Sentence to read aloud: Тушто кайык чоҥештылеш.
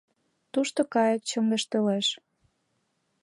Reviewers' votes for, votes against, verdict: 2, 0, accepted